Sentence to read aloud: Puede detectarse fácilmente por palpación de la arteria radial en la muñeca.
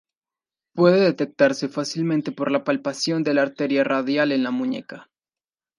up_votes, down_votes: 1, 2